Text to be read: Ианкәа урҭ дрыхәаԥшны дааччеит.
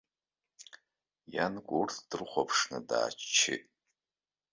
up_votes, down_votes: 2, 0